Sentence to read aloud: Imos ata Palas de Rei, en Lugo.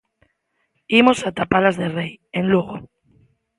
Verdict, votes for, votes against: accepted, 2, 0